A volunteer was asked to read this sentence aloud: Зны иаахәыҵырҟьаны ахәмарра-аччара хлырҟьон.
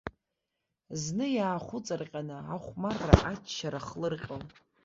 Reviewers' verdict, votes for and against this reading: accepted, 2, 1